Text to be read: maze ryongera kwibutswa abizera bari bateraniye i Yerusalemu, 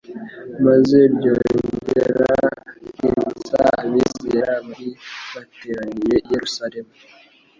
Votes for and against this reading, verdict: 0, 2, rejected